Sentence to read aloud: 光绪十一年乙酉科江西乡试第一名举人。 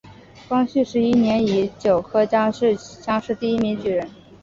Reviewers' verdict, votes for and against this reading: accepted, 3, 0